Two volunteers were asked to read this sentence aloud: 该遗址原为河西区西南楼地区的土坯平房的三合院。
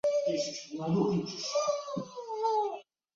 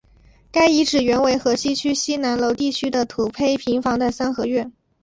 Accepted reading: second